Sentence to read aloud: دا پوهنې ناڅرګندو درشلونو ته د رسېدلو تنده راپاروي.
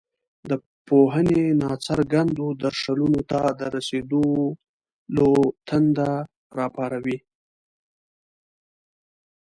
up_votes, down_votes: 1, 2